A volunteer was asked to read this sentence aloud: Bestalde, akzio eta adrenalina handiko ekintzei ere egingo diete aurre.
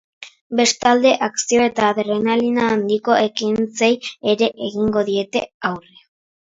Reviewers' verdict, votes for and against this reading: accepted, 4, 0